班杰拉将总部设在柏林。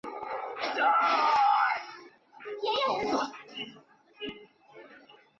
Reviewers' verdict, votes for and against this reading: rejected, 2, 5